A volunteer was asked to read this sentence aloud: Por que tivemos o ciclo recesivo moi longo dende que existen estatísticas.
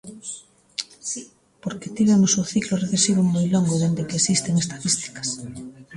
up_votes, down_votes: 0, 2